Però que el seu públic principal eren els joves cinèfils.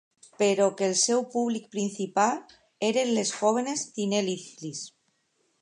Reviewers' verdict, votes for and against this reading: rejected, 0, 2